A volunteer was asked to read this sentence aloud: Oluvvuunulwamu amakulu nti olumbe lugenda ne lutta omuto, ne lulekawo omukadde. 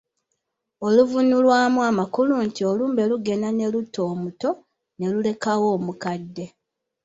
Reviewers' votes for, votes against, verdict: 2, 0, accepted